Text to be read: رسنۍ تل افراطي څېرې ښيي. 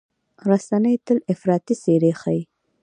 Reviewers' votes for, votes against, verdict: 2, 0, accepted